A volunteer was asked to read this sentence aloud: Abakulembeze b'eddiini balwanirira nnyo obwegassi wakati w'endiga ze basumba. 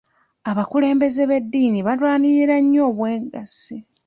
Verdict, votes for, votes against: rejected, 0, 2